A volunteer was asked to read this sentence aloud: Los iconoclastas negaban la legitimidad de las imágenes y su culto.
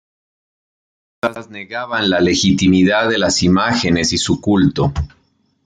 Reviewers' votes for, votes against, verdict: 0, 2, rejected